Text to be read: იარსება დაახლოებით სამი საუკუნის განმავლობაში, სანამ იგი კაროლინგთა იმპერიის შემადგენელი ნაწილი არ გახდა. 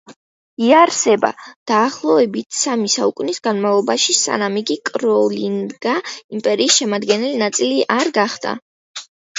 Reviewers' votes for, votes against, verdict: 1, 2, rejected